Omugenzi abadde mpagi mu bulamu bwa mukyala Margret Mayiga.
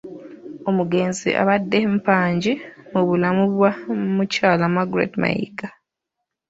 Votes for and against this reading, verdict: 1, 2, rejected